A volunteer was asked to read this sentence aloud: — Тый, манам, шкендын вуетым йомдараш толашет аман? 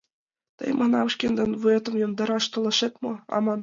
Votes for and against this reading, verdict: 0, 2, rejected